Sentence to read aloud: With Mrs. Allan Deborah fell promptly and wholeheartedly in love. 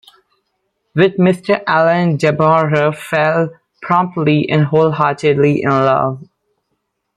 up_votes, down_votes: 0, 2